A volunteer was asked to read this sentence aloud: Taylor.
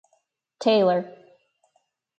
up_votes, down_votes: 2, 2